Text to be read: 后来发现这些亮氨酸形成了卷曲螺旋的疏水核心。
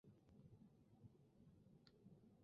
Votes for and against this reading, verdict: 1, 3, rejected